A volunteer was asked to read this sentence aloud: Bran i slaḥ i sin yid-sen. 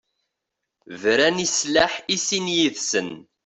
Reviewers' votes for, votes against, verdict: 2, 0, accepted